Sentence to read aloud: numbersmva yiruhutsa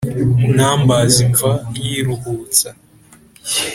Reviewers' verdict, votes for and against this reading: accepted, 2, 0